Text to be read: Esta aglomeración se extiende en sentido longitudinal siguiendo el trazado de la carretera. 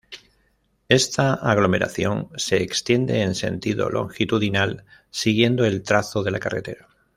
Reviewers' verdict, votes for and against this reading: rejected, 1, 2